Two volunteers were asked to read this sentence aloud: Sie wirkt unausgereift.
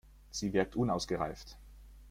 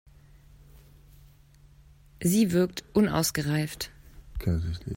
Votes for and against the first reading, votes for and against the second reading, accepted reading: 2, 0, 0, 2, first